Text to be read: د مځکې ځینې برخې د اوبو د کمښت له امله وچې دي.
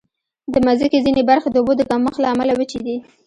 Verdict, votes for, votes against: accepted, 2, 0